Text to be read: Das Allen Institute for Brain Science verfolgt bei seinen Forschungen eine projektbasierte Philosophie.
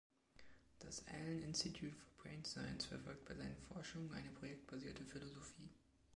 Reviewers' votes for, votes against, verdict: 2, 0, accepted